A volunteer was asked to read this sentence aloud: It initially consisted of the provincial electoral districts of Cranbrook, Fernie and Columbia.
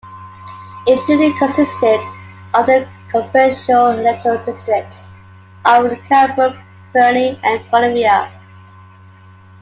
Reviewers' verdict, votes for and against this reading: rejected, 1, 2